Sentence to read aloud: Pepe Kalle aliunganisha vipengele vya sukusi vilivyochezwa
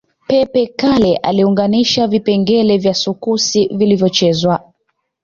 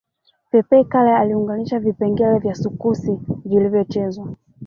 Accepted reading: first